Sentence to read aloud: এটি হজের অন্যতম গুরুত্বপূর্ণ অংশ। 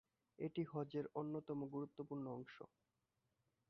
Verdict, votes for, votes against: rejected, 3, 4